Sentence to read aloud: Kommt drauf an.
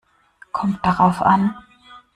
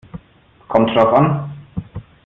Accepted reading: second